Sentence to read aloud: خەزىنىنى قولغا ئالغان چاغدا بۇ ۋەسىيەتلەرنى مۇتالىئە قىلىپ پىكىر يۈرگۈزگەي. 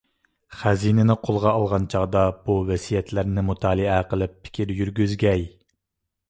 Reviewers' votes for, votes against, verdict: 2, 0, accepted